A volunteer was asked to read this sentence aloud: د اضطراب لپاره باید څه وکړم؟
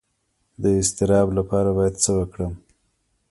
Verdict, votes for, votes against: rejected, 1, 2